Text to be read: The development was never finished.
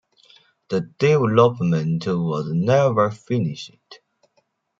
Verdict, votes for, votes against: accepted, 2, 1